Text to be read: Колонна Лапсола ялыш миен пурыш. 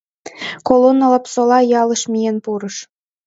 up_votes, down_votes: 2, 0